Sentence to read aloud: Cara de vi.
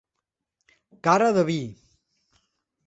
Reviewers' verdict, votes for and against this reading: accepted, 2, 0